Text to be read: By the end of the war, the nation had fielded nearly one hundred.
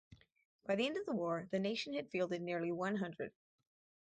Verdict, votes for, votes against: rejected, 2, 2